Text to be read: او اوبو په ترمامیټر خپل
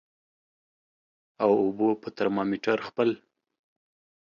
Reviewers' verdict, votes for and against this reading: accepted, 2, 0